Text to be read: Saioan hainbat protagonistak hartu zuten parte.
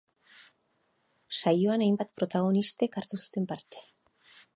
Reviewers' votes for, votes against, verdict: 0, 2, rejected